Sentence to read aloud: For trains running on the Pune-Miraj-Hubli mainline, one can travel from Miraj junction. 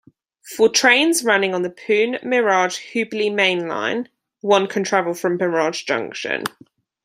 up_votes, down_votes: 2, 0